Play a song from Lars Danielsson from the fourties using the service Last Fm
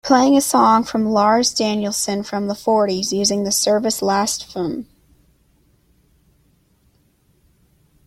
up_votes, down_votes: 0, 2